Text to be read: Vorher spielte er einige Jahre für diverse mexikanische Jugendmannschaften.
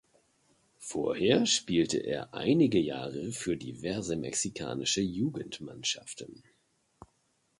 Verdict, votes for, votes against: accepted, 2, 0